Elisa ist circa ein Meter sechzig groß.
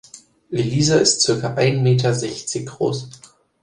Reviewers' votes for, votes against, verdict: 2, 0, accepted